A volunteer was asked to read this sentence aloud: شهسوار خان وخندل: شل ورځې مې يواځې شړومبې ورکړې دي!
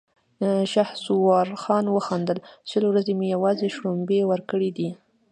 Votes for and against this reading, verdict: 2, 0, accepted